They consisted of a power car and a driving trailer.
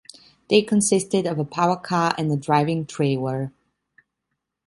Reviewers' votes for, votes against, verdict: 2, 1, accepted